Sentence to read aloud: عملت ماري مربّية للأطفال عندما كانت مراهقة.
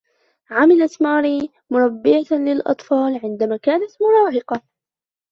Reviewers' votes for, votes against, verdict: 1, 2, rejected